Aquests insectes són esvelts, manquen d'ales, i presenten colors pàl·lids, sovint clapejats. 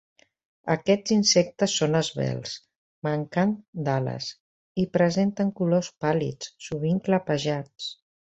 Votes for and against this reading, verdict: 2, 0, accepted